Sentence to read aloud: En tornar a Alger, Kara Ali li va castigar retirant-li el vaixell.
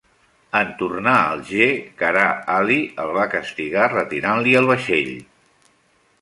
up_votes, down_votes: 0, 2